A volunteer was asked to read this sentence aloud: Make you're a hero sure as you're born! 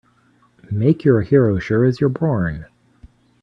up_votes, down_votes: 1, 2